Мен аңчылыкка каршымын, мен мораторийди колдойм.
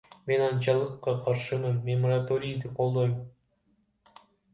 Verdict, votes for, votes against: rejected, 0, 2